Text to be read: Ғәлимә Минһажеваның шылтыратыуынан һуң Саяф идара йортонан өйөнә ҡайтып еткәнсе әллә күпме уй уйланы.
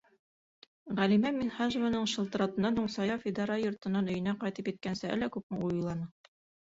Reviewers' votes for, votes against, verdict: 3, 0, accepted